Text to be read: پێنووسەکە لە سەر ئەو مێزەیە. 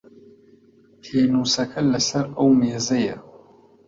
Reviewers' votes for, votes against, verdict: 2, 0, accepted